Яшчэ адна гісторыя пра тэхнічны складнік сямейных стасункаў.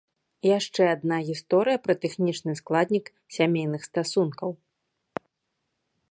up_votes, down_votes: 2, 0